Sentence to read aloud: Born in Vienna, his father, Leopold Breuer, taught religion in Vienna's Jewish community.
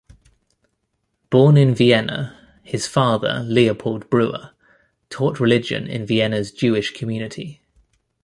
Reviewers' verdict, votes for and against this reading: accepted, 2, 0